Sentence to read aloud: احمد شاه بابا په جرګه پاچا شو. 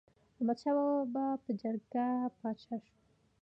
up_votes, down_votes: 1, 2